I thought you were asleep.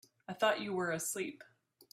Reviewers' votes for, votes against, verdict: 3, 0, accepted